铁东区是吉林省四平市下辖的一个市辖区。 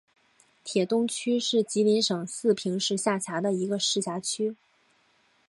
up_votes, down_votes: 0, 2